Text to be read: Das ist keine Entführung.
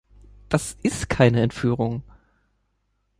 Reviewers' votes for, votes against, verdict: 2, 0, accepted